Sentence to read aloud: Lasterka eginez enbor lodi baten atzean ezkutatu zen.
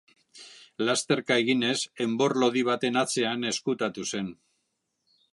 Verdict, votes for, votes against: accepted, 3, 0